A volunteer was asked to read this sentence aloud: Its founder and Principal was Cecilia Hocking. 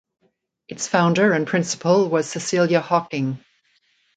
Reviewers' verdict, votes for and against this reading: rejected, 5, 5